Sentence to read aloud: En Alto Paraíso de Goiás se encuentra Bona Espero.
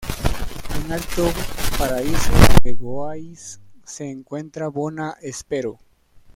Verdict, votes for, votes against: rejected, 0, 2